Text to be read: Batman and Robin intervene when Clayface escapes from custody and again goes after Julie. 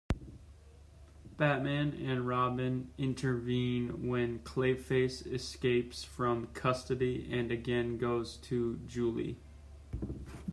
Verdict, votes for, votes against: rejected, 0, 2